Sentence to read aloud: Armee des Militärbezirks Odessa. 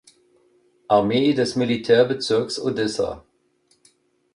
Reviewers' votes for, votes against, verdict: 2, 0, accepted